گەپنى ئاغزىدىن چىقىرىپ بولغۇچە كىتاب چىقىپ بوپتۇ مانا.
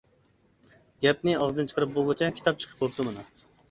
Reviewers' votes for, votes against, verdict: 2, 0, accepted